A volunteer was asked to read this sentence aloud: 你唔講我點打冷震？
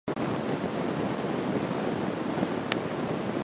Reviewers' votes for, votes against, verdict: 0, 2, rejected